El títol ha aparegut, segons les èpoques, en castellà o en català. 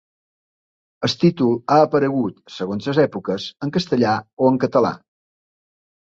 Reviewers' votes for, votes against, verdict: 2, 1, accepted